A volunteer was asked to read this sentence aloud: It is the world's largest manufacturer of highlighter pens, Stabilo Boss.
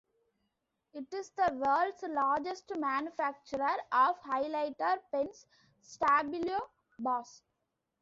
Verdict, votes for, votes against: accepted, 2, 0